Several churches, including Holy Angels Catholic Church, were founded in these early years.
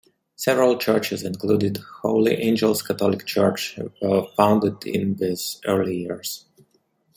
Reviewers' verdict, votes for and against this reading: rejected, 0, 2